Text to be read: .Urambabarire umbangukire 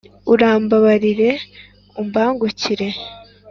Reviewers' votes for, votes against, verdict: 2, 0, accepted